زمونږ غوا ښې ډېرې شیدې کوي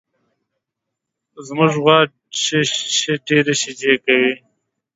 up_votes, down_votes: 1, 2